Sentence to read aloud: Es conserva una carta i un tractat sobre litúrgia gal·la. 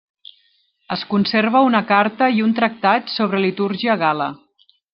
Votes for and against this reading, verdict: 2, 1, accepted